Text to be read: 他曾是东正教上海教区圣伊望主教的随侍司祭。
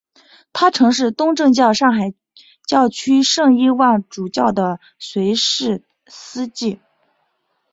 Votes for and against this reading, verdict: 2, 0, accepted